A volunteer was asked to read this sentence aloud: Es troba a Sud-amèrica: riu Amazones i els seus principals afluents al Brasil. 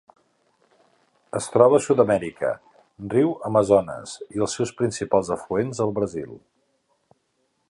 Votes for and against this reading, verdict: 3, 0, accepted